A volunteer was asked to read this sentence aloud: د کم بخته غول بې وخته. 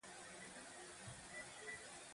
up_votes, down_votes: 0, 9